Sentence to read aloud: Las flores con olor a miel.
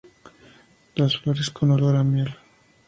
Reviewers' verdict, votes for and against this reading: accepted, 4, 0